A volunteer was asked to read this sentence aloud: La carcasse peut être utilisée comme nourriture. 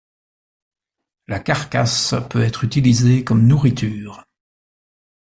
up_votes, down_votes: 2, 0